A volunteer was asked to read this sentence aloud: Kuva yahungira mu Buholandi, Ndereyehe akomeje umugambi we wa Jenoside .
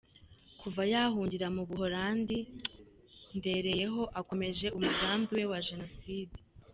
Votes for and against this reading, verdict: 0, 2, rejected